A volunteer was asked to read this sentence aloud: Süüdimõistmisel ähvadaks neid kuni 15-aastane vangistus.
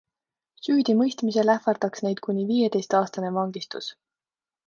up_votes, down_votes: 0, 2